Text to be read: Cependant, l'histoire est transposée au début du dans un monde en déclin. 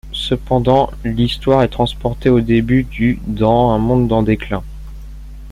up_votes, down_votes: 0, 2